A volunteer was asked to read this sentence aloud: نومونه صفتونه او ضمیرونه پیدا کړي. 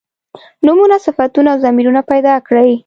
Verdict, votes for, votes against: accepted, 2, 0